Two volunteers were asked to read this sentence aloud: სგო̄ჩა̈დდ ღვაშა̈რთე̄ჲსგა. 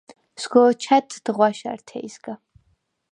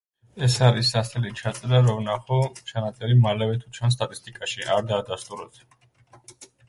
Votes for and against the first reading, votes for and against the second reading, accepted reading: 4, 0, 0, 3, first